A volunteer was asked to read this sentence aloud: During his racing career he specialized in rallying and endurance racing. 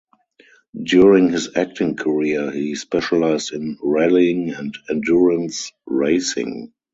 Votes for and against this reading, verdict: 0, 4, rejected